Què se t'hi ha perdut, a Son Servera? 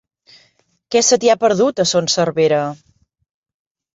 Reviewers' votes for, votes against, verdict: 7, 0, accepted